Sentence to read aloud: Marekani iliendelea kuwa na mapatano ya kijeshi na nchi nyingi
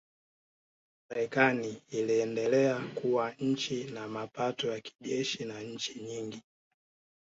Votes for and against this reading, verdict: 0, 2, rejected